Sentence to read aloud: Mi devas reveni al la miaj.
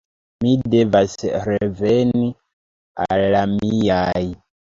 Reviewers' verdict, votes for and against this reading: rejected, 1, 2